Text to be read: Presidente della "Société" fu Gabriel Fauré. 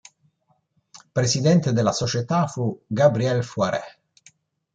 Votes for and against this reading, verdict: 0, 2, rejected